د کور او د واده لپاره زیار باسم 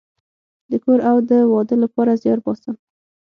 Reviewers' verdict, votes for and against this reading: rejected, 0, 6